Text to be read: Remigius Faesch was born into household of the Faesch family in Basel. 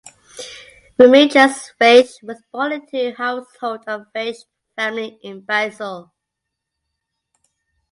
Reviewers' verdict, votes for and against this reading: rejected, 0, 2